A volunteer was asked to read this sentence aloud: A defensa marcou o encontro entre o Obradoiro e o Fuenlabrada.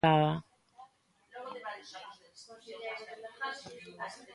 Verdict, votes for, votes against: rejected, 0, 2